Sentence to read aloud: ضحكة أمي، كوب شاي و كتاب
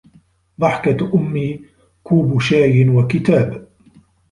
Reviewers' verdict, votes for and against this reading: accepted, 2, 0